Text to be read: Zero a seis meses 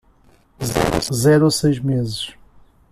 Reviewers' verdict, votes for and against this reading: rejected, 1, 2